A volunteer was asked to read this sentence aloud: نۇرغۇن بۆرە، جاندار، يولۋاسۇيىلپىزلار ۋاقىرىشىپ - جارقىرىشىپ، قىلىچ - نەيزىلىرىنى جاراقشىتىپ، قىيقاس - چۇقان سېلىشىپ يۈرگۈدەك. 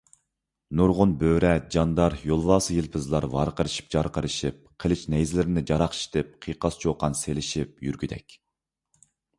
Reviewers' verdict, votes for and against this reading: accepted, 2, 0